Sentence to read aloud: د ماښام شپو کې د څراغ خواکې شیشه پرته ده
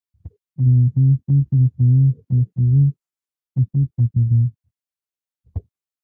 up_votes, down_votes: 0, 2